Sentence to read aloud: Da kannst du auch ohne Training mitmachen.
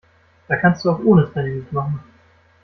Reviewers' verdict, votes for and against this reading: accepted, 2, 0